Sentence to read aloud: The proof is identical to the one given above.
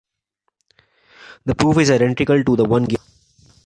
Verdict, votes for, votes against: rejected, 1, 2